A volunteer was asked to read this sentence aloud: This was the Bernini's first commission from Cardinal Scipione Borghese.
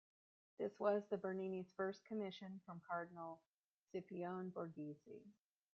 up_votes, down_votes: 1, 2